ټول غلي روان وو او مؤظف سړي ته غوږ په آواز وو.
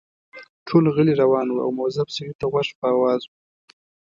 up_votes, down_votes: 0, 2